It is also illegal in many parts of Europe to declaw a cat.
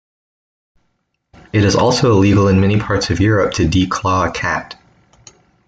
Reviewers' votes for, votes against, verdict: 2, 0, accepted